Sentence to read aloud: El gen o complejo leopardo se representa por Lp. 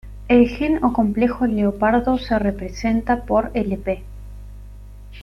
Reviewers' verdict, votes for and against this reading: accepted, 2, 0